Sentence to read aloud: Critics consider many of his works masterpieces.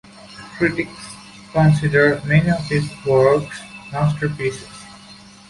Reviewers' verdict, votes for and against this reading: accepted, 2, 0